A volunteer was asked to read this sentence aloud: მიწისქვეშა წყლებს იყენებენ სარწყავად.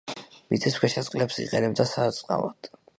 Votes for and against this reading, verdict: 0, 2, rejected